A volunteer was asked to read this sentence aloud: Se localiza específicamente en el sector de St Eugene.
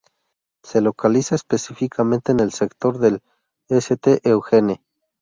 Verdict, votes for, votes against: rejected, 0, 2